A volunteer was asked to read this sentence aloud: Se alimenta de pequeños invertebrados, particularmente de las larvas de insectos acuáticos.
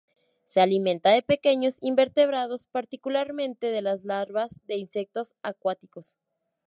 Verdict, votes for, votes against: accepted, 2, 0